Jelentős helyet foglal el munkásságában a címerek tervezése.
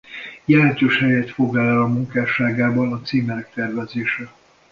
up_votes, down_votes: 0, 2